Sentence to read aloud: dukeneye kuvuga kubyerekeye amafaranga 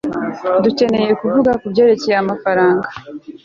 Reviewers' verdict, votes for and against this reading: accepted, 2, 0